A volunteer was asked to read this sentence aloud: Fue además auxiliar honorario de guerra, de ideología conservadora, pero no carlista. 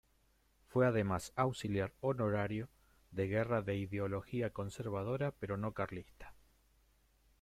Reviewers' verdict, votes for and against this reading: rejected, 0, 2